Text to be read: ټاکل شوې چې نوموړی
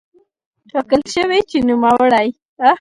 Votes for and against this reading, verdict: 2, 0, accepted